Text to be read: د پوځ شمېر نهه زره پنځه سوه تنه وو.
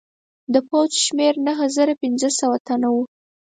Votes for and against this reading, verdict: 2, 4, rejected